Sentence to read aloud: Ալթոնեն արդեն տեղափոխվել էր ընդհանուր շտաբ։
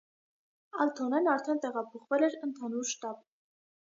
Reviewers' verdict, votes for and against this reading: accepted, 2, 0